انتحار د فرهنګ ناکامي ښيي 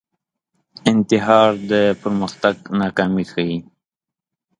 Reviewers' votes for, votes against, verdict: 0, 2, rejected